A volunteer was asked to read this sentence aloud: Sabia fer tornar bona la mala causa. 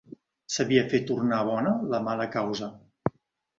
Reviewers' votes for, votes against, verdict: 2, 0, accepted